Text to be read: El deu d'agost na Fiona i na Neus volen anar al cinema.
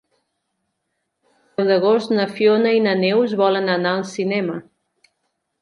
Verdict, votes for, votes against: rejected, 0, 2